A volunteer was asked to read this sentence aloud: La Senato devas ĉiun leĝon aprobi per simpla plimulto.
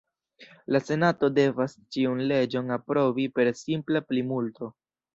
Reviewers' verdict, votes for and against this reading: accepted, 2, 1